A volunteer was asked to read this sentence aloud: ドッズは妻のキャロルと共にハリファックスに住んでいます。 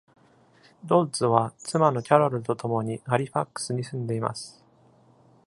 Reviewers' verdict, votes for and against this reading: accepted, 2, 0